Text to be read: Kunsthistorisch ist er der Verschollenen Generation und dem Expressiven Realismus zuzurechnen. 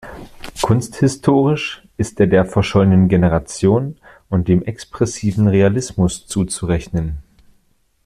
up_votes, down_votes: 2, 0